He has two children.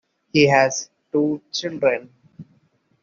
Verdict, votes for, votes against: accepted, 2, 0